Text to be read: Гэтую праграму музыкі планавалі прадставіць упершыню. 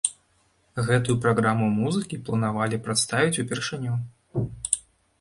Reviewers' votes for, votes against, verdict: 1, 2, rejected